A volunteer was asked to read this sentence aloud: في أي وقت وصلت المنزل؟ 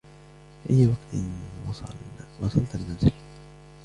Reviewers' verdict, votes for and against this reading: rejected, 0, 2